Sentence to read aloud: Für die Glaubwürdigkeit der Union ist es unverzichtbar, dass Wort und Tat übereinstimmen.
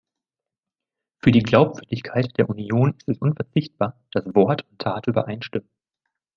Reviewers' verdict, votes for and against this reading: accepted, 2, 1